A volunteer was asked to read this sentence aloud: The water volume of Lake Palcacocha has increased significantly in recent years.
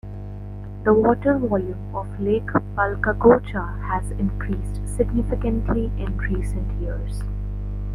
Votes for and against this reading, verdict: 2, 0, accepted